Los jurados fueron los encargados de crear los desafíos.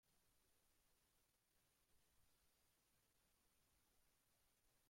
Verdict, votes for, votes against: rejected, 0, 3